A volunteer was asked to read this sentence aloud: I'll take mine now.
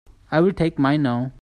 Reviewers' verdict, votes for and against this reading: rejected, 1, 2